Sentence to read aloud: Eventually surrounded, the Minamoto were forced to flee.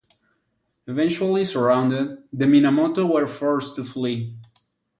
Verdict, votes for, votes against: accepted, 6, 0